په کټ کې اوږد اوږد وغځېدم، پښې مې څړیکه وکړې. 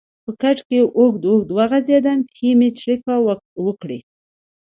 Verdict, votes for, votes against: accepted, 2, 0